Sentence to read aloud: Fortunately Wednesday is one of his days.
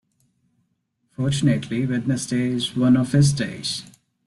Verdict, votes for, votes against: rejected, 1, 3